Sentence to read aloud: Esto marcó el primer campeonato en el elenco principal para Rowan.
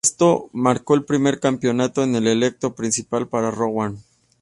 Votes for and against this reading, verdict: 2, 0, accepted